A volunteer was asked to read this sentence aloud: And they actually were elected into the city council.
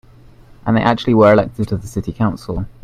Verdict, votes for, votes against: rejected, 1, 2